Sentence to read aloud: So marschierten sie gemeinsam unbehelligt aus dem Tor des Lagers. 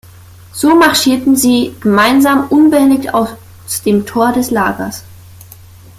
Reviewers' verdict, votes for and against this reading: rejected, 1, 2